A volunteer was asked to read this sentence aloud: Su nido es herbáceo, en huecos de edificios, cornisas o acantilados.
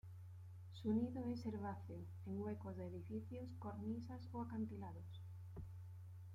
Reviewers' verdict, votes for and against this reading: accepted, 2, 0